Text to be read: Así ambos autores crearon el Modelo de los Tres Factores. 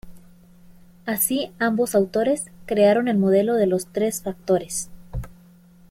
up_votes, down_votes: 2, 0